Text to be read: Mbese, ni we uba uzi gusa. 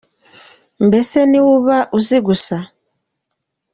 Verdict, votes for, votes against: accepted, 2, 0